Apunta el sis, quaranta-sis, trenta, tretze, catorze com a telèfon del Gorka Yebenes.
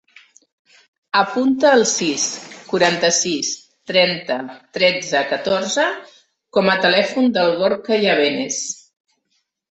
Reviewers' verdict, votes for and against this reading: accepted, 2, 0